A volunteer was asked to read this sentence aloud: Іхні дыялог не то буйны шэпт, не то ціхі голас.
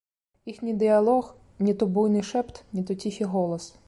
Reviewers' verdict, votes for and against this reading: rejected, 1, 2